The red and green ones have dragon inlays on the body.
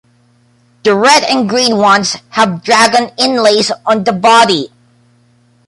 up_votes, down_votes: 2, 0